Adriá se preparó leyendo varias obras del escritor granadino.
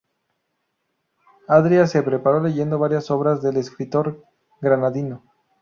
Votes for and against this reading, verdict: 4, 0, accepted